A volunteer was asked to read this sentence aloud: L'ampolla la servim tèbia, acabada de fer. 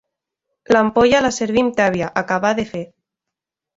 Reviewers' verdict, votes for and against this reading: rejected, 0, 2